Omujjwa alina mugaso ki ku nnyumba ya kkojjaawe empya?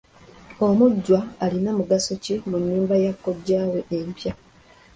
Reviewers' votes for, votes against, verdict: 3, 2, accepted